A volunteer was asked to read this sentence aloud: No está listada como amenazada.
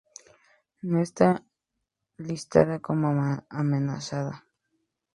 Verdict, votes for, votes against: rejected, 0, 2